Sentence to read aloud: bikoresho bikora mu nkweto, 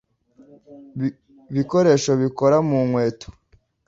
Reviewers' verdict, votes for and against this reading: rejected, 1, 2